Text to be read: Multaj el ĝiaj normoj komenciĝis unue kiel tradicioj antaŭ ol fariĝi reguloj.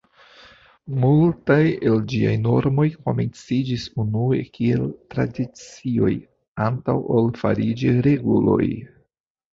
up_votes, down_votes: 2, 0